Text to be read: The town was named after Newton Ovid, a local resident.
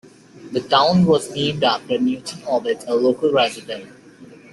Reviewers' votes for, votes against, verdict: 2, 0, accepted